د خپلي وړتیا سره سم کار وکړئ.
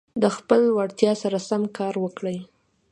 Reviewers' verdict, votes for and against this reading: accepted, 2, 0